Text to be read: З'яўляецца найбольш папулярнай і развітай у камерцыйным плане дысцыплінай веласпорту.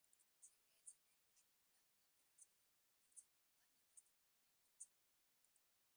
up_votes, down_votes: 1, 3